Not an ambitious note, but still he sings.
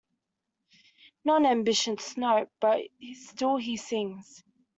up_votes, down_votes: 1, 2